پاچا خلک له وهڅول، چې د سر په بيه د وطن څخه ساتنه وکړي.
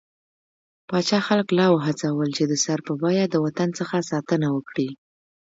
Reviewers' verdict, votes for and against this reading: rejected, 1, 2